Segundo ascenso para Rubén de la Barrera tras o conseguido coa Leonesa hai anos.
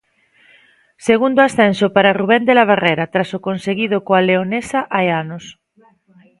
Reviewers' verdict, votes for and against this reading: accepted, 2, 0